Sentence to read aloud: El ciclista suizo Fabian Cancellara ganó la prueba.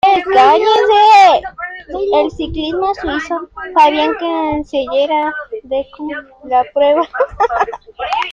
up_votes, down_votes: 0, 2